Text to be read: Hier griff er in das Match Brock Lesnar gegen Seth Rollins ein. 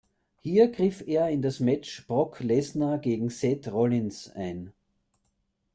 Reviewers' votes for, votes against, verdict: 1, 2, rejected